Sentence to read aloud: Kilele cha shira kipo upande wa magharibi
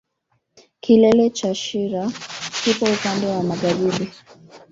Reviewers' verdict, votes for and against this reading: accepted, 2, 1